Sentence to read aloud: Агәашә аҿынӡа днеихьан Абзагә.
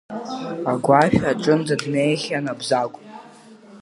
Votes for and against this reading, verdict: 2, 0, accepted